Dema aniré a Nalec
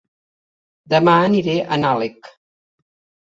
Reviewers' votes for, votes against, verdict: 0, 2, rejected